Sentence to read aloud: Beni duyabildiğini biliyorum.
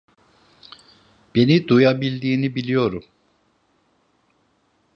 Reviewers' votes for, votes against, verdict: 2, 0, accepted